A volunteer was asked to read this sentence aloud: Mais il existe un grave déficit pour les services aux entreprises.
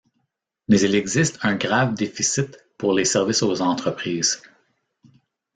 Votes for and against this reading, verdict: 2, 0, accepted